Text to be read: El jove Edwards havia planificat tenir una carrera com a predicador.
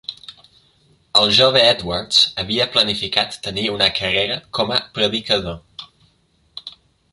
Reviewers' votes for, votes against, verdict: 0, 2, rejected